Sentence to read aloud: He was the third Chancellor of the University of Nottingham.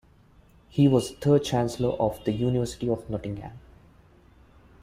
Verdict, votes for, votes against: accepted, 2, 1